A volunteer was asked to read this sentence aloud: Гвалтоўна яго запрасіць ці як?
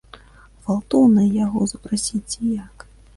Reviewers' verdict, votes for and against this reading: accepted, 2, 0